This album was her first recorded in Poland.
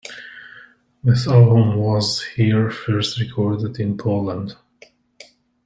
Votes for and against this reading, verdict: 0, 2, rejected